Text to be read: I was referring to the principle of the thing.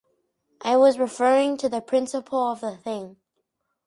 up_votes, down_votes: 4, 0